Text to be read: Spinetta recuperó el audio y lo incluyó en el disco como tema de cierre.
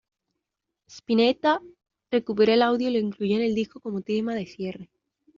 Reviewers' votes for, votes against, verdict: 1, 2, rejected